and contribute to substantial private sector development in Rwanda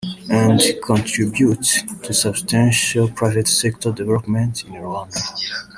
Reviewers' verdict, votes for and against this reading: rejected, 1, 2